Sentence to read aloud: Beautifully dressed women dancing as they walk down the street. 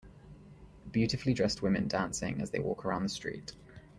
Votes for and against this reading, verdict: 0, 2, rejected